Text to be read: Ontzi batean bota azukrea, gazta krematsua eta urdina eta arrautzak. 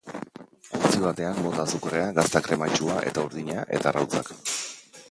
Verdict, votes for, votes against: rejected, 2, 2